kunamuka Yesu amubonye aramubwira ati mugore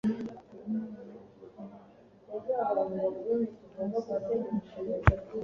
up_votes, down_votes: 1, 2